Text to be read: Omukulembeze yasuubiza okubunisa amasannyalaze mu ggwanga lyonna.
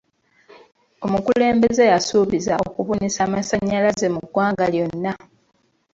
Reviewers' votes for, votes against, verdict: 0, 2, rejected